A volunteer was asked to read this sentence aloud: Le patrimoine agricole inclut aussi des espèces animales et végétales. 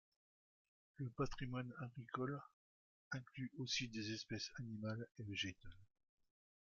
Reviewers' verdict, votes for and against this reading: rejected, 0, 2